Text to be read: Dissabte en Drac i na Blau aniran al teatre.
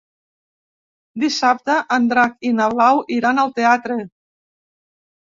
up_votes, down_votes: 0, 2